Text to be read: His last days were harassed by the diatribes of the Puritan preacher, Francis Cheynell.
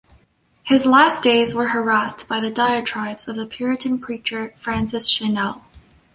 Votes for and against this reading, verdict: 2, 0, accepted